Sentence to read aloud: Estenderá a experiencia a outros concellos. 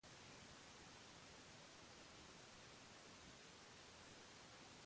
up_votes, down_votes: 0, 2